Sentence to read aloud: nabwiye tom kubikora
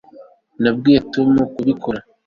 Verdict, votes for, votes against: accepted, 2, 0